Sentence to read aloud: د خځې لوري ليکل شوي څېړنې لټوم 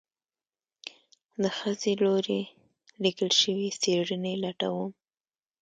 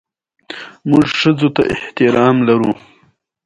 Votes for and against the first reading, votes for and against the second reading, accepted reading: 1, 2, 2, 0, second